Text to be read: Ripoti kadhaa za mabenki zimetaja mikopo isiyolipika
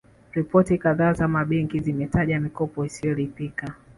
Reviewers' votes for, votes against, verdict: 1, 2, rejected